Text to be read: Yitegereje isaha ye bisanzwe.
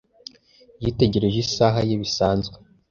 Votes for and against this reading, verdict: 2, 0, accepted